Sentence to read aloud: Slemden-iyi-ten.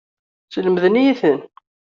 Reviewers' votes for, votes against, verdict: 2, 0, accepted